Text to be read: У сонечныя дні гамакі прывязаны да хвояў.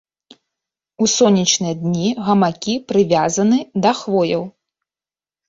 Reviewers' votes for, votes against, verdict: 2, 0, accepted